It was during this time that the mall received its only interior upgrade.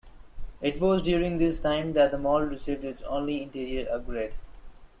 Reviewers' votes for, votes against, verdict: 2, 0, accepted